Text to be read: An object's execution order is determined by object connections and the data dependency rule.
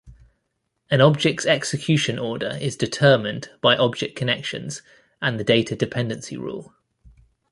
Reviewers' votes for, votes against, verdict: 2, 0, accepted